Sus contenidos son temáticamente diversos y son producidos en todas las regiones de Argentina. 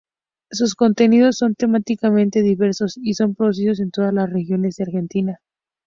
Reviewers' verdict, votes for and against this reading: accepted, 2, 0